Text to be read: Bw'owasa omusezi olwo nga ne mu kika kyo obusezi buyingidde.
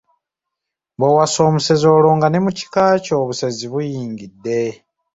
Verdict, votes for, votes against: accepted, 2, 0